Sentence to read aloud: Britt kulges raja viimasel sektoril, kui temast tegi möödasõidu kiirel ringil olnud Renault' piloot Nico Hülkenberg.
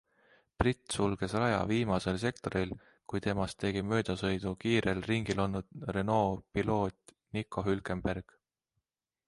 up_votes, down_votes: 1, 2